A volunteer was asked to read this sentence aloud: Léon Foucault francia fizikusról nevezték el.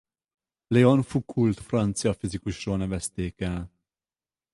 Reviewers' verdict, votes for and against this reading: rejected, 2, 4